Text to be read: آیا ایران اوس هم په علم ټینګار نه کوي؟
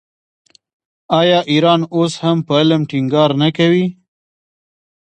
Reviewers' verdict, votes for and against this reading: rejected, 0, 2